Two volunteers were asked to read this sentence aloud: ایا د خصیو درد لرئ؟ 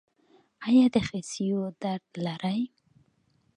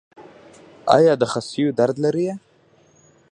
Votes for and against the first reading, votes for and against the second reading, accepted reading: 2, 0, 0, 2, first